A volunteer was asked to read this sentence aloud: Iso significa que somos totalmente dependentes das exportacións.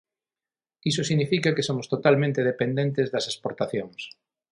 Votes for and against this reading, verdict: 6, 0, accepted